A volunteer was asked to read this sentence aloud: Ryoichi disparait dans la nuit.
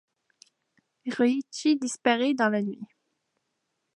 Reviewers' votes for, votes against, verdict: 0, 2, rejected